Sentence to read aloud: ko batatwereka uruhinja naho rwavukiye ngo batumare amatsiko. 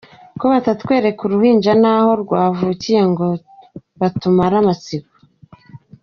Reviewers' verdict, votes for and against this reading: accepted, 2, 1